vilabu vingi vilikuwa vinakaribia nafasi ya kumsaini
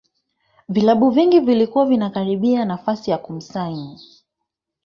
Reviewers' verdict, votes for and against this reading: rejected, 2, 3